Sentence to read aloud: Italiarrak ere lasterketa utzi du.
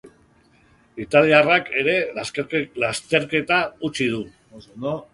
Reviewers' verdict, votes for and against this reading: rejected, 0, 2